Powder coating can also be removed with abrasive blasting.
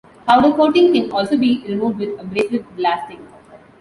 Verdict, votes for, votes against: accepted, 2, 0